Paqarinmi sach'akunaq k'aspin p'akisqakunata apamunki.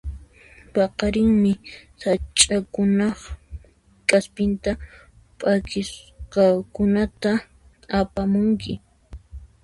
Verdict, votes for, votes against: rejected, 1, 2